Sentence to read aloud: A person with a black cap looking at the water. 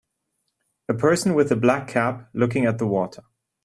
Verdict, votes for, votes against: accepted, 2, 0